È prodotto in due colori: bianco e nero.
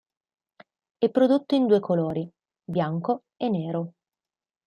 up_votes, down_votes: 2, 0